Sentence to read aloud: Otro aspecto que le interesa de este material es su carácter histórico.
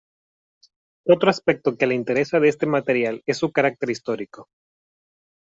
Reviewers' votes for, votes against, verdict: 2, 0, accepted